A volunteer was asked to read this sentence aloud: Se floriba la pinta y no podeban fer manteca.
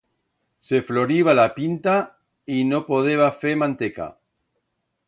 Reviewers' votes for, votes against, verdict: 1, 2, rejected